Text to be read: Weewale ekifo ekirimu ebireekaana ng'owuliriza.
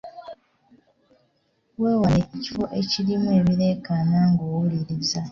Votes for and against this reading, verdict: 2, 1, accepted